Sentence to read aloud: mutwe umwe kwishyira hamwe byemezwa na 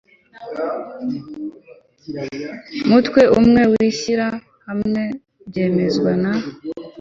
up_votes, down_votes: 2, 1